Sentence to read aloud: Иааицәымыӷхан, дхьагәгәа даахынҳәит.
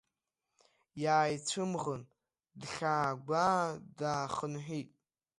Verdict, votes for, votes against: rejected, 0, 2